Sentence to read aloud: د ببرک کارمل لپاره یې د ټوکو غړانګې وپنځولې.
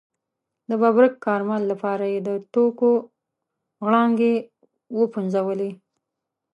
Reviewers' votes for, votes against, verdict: 1, 2, rejected